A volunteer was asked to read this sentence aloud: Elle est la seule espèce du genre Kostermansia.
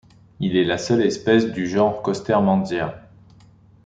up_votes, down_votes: 0, 2